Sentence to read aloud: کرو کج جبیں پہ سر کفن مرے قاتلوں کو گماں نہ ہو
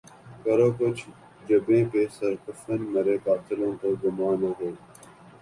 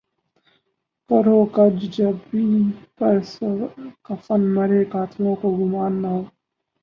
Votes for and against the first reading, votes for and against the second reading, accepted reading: 3, 2, 2, 4, first